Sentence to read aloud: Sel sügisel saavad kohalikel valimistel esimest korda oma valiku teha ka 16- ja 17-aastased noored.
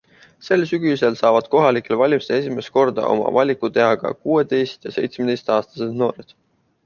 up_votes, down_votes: 0, 2